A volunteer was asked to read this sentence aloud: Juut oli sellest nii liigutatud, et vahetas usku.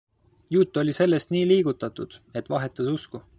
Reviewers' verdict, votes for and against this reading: accepted, 2, 0